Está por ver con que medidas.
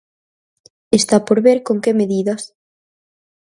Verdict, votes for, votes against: accepted, 4, 0